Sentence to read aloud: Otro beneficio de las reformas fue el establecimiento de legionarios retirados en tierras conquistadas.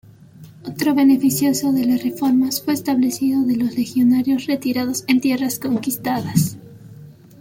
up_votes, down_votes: 0, 2